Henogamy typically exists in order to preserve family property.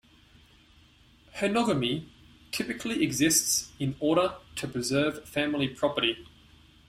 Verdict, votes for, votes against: accepted, 2, 0